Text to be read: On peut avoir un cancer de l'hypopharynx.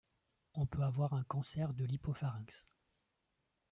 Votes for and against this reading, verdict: 1, 2, rejected